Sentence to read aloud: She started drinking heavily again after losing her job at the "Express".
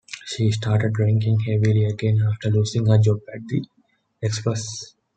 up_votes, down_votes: 2, 0